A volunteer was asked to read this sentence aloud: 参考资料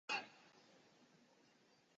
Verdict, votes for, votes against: rejected, 1, 2